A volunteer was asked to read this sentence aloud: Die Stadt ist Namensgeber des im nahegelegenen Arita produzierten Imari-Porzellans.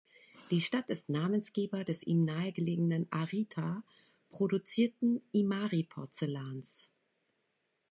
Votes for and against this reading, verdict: 2, 0, accepted